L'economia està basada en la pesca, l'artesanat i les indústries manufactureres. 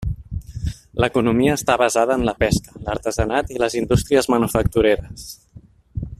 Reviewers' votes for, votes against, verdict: 3, 0, accepted